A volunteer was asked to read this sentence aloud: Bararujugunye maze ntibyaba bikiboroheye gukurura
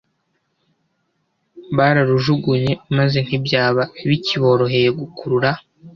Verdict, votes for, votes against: accepted, 2, 0